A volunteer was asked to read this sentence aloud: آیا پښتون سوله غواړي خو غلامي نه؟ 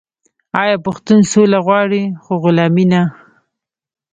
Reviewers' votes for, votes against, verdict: 0, 2, rejected